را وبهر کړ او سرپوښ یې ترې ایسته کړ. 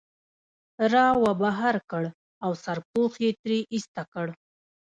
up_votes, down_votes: 1, 2